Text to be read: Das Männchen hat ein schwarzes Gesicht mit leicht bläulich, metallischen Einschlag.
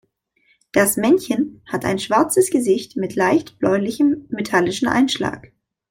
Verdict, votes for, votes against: rejected, 0, 2